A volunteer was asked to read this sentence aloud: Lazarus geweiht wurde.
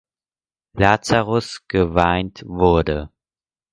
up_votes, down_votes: 0, 4